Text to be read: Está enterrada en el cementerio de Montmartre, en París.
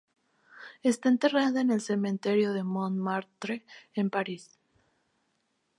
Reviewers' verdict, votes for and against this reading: rejected, 2, 2